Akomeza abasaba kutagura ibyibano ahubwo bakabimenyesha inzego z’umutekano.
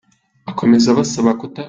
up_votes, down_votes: 0, 2